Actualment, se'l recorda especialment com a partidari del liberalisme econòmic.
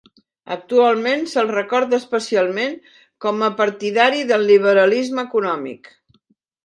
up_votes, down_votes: 2, 0